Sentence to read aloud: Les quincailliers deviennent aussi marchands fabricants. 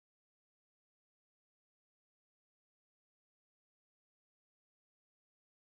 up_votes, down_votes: 1, 2